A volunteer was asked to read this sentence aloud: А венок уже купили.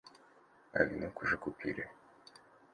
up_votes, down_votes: 2, 0